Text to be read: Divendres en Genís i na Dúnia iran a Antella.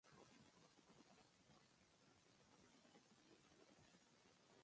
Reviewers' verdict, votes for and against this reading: rejected, 1, 3